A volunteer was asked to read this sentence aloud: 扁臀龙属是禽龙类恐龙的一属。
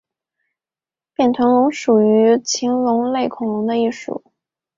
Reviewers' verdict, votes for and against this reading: accepted, 3, 2